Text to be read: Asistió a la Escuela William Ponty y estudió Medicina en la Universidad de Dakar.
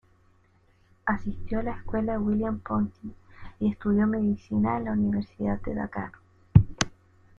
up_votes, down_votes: 2, 1